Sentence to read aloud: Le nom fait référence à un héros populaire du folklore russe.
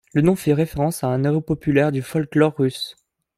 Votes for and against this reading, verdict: 0, 2, rejected